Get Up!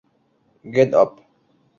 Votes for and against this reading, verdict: 0, 2, rejected